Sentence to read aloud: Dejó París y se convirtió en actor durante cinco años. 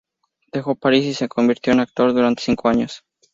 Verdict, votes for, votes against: rejected, 2, 2